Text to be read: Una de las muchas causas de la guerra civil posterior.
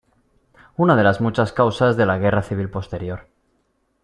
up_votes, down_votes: 2, 0